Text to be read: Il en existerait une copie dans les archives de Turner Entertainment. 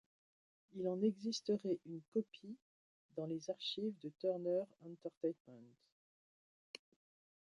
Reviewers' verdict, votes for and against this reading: accepted, 2, 0